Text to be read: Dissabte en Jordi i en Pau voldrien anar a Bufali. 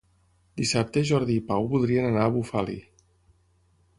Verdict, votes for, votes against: rejected, 0, 6